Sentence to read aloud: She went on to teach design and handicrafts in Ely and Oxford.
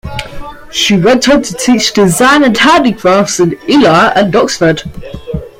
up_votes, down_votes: 1, 2